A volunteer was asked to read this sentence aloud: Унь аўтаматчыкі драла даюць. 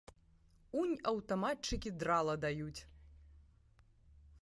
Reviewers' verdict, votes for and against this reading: accepted, 2, 1